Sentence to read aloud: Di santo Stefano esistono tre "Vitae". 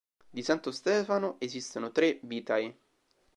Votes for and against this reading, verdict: 0, 2, rejected